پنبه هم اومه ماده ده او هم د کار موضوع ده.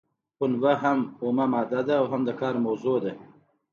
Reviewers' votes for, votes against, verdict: 2, 0, accepted